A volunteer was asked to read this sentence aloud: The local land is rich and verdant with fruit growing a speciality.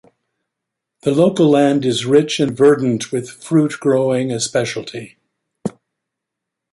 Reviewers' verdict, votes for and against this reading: accepted, 2, 0